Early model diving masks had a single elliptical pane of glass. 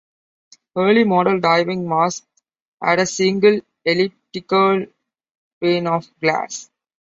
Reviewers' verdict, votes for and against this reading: accepted, 2, 0